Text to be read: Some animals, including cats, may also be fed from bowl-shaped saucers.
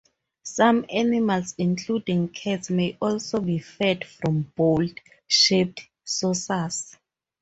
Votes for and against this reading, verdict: 4, 0, accepted